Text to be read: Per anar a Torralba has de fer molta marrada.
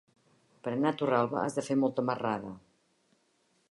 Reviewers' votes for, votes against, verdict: 3, 0, accepted